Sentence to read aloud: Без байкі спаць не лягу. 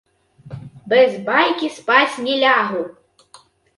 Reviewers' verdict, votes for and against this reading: rejected, 0, 3